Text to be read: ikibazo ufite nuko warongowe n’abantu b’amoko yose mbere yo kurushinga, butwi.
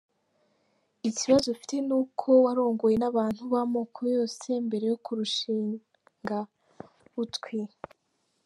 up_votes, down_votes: 2, 0